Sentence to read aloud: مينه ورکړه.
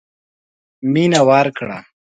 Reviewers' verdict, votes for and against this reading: accepted, 2, 0